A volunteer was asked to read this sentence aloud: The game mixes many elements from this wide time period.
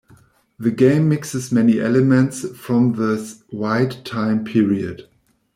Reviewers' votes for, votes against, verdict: 1, 2, rejected